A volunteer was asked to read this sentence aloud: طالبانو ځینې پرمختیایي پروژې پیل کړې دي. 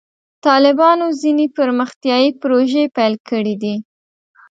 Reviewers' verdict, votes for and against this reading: accepted, 2, 0